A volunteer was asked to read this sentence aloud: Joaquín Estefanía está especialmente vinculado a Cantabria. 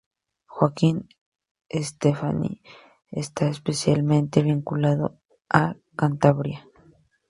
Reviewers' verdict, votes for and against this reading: accepted, 2, 0